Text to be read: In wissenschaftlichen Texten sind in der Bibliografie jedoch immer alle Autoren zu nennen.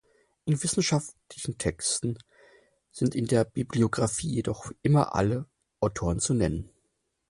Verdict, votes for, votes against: accepted, 4, 2